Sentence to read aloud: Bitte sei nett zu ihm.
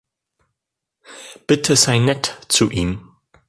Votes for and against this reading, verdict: 2, 0, accepted